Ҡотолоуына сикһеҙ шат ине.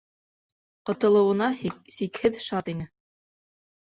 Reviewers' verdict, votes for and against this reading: rejected, 0, 2